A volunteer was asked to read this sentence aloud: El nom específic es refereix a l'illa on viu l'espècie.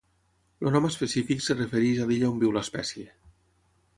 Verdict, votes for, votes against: rejected, 0, 6